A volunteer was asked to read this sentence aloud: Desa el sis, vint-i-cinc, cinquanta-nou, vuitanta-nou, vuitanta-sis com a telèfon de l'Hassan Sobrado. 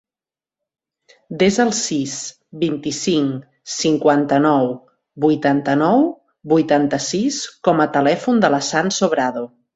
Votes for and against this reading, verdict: 2, 0, accepted